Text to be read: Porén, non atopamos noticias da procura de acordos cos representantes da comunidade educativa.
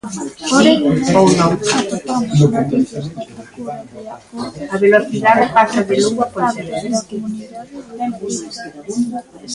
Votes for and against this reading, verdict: 0, 2, rejected